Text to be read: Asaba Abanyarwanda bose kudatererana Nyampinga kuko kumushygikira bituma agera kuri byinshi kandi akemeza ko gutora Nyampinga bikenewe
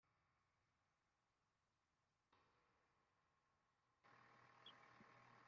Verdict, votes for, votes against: rejected, 1, 2